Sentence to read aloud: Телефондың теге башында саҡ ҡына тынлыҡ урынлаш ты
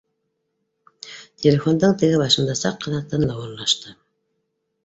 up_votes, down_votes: 2, 1